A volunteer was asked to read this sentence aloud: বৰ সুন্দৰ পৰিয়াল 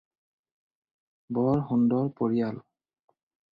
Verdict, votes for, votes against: accepted, 4, 0